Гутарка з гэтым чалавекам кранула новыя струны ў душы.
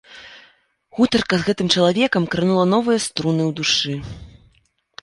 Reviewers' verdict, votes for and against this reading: accepted, 2, 0